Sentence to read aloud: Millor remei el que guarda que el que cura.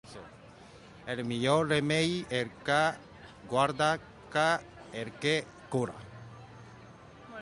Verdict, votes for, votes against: rejected, 0, 2